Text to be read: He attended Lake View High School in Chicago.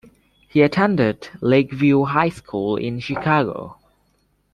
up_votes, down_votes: 2, 0